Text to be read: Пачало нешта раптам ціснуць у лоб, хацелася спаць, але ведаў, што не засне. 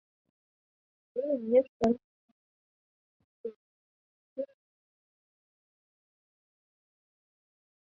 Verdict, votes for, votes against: rejected, 0, 2